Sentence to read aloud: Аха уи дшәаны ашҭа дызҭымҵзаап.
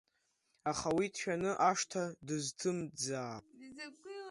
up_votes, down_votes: 1, 2